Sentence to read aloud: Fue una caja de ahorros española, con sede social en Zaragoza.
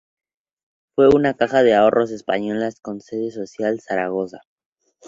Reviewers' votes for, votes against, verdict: 2, 0, accepted